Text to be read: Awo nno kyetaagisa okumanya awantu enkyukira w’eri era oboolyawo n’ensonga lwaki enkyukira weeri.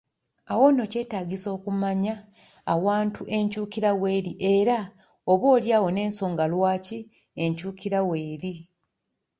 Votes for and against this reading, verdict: 2, 1, accepted